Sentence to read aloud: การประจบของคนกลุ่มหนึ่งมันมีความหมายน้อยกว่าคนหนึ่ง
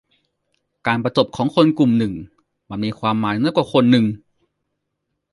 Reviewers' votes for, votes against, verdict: 1, 2, rejected